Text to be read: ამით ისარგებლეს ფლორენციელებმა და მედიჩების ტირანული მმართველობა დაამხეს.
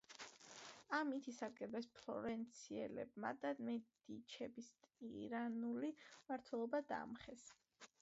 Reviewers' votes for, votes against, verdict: 2, 0, accepted